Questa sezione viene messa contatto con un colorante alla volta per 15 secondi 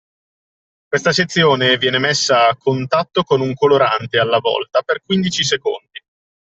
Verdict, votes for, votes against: rejected, 0, 2